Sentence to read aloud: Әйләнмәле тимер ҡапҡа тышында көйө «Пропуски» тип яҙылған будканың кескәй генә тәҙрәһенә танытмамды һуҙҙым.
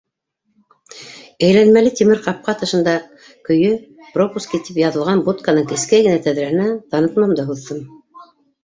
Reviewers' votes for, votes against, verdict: 2, 1, accepted